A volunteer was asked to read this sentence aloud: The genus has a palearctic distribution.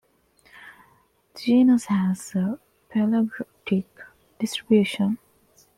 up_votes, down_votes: 2, 1